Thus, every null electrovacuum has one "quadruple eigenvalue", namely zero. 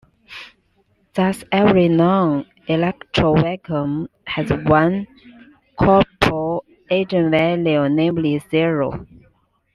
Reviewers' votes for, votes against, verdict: 0, 3, rejected